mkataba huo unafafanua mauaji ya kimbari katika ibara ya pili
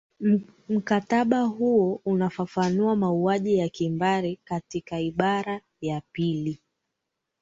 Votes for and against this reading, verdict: 1, 2, rejected